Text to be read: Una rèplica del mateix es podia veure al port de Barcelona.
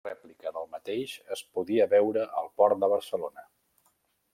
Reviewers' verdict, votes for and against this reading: rejected, 0, 2